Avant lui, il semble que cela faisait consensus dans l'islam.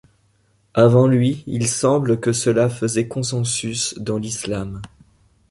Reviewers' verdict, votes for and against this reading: accepted, 2, 0